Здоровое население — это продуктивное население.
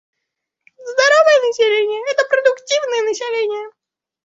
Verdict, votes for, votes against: accepted, 2, 1